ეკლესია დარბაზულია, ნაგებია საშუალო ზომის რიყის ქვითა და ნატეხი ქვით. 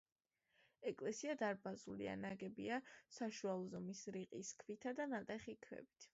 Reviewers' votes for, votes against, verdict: 2, 0, accepted